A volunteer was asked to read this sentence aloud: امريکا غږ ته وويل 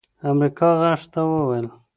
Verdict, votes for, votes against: accepted, 2, 0